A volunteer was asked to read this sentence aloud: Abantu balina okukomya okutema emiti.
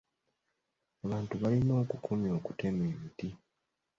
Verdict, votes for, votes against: accepted, 2, 0